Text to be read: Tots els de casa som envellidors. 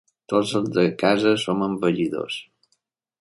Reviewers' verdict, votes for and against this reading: rejected, 0, 2